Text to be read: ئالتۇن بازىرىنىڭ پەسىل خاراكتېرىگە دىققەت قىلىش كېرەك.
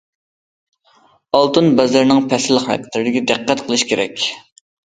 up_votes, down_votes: 1, 2